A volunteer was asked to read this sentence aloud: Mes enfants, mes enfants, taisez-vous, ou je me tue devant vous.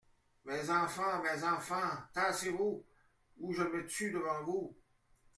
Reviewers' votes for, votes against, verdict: 1, 2, rejected